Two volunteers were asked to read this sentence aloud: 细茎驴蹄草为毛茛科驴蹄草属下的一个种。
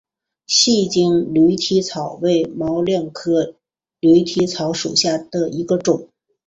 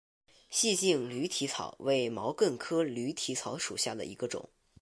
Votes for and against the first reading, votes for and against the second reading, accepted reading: 3, 3, 4, 0, second